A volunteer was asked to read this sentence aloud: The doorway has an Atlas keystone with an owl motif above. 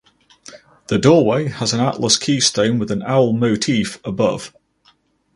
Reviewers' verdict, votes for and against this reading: accepted, 4, 0